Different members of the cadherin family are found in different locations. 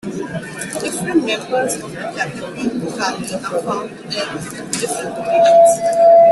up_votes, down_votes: 0, 2